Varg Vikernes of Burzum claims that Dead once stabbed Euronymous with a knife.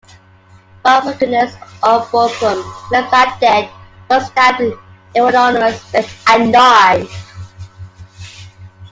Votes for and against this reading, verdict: 0, 2, rejected